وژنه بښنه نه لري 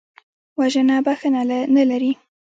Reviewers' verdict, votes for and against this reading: rejected, 1, 2